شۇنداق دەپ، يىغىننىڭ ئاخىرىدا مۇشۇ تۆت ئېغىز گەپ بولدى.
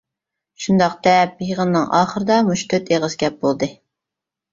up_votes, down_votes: 2, 0